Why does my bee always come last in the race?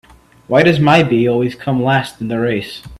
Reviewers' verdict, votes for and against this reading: accepted, 2, 0